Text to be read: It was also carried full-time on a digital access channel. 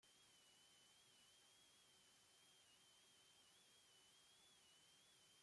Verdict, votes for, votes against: rejected, 0, 2